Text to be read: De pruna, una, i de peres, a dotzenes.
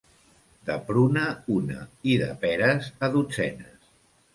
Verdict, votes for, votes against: accepted, 2, 0